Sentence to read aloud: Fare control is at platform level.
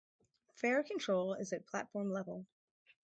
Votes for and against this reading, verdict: 4, 0, accepted